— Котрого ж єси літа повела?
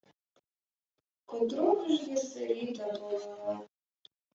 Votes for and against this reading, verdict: 0, 2, rejected